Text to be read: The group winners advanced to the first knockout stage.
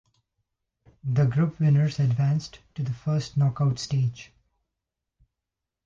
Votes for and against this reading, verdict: 2, 1, accepted